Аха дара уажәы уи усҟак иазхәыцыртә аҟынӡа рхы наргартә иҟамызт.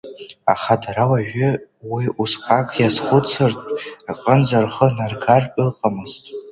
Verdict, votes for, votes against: accepted, 2, 0